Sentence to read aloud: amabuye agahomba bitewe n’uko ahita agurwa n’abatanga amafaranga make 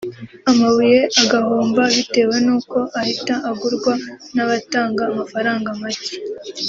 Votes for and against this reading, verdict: 2, 0, accepted